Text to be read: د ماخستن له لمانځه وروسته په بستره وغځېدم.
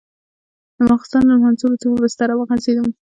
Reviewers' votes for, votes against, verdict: 0, 2, rejected